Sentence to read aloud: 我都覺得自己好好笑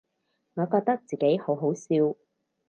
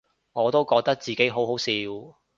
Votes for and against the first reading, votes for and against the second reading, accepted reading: 0, 4, 2, 0, second